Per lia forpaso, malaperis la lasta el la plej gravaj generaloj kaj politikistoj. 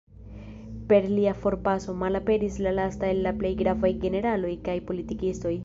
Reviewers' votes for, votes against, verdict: 1, 2, rejected